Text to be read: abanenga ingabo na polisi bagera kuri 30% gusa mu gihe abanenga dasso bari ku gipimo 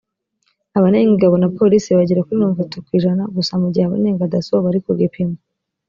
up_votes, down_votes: 0, 2